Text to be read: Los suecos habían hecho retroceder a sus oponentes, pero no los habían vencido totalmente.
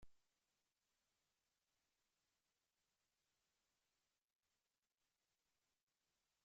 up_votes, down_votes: 1, 2